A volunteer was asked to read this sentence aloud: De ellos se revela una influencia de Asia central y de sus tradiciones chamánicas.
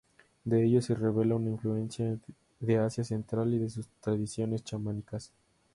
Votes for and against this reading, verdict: 2, 0, accepted